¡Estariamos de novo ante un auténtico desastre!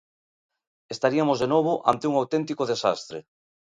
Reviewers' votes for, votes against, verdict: 1, 2, rejected